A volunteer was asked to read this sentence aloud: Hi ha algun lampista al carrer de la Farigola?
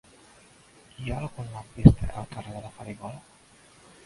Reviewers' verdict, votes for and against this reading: accepted, 2, 0